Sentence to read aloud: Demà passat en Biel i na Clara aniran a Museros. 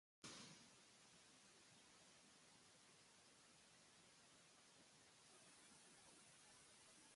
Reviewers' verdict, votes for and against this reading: rejected, 0, 2